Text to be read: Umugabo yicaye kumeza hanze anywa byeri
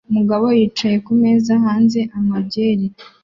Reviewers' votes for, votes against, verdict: 2, 0, accepted